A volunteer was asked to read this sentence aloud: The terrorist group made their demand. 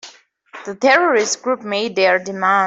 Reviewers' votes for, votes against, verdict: 2, 1, accepted